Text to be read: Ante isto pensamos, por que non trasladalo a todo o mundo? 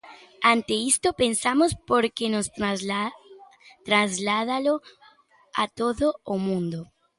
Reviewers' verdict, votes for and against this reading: rejected, 0, 2